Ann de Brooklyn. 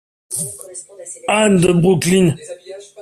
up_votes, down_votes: 2, 0